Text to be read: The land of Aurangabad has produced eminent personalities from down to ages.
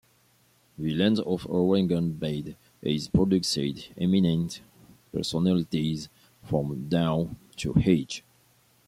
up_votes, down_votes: 2, 0